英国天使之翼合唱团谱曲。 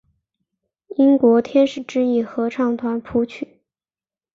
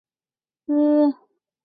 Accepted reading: first